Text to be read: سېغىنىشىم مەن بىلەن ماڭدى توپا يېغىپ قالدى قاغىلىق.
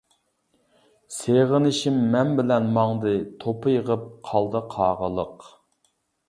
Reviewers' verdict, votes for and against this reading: accepted, 2, 0